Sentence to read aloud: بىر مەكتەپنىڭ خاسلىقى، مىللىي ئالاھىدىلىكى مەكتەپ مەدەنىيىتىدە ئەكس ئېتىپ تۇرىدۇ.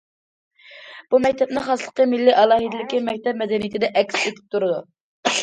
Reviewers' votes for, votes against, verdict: 0, 2, rejected